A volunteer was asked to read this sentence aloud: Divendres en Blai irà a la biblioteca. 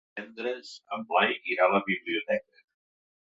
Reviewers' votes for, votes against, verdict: 1, 2, rejected